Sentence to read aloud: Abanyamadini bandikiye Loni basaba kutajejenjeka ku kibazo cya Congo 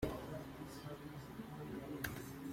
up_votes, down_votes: 0, 2